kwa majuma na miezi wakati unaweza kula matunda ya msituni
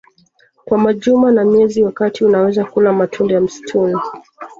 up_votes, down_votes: 0, 2